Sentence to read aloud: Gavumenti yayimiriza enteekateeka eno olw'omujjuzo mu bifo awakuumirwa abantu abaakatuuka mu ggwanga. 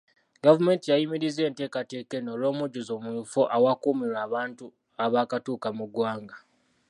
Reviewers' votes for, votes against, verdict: 2, 1, accepted